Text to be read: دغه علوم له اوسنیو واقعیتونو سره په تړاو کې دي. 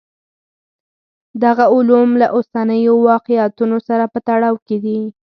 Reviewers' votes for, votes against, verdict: 4, 2, accepted